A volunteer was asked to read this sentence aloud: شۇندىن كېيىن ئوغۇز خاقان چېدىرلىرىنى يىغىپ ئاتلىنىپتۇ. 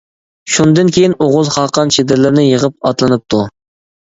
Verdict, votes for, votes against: accepted, 2, 0